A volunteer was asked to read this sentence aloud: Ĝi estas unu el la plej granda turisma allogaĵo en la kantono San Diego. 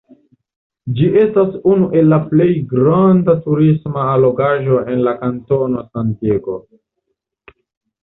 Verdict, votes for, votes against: rejected, 0, 2